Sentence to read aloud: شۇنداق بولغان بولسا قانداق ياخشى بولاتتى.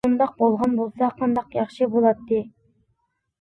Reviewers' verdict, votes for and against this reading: accepted, 2, 1